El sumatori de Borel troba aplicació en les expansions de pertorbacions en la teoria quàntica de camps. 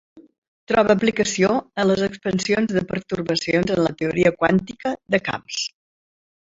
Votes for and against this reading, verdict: 0, 2, rejected